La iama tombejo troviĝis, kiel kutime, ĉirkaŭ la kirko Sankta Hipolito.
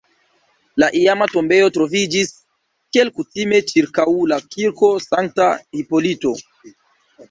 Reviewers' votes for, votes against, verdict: 0, 3, rejected